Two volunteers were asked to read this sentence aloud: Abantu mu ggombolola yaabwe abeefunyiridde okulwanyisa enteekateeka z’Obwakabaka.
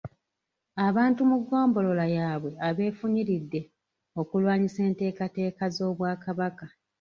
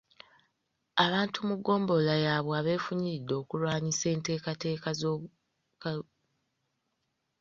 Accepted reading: first